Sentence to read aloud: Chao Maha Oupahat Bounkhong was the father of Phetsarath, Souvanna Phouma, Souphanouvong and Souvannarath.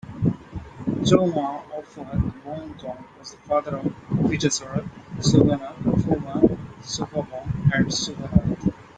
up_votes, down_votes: 0, 2